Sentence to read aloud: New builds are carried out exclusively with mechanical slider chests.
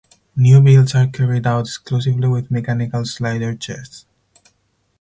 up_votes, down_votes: 2, 4